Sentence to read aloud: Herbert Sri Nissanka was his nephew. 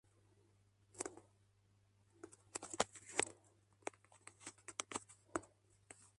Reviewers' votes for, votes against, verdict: 0, 2, rejected